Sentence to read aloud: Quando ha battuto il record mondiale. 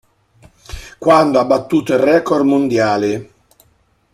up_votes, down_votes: 2, 0